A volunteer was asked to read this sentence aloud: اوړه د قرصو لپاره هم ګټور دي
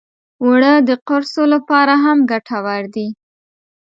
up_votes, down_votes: 2, 0